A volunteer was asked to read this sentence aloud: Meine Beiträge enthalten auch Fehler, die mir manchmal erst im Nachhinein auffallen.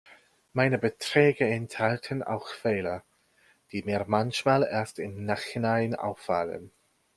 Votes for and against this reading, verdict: 0, 2, rejected